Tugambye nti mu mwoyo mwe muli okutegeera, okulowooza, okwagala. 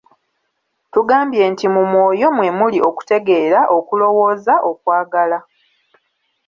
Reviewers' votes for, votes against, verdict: 2, 0, accepted